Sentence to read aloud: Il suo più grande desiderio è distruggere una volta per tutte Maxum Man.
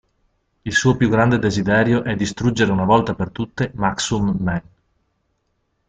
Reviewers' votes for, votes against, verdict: 2, 0, accepted